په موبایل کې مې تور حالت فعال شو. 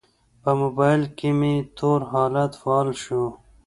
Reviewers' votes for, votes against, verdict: 2, 0, accepted